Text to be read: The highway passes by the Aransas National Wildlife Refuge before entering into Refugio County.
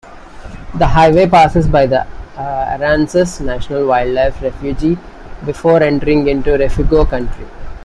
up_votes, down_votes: 0, 2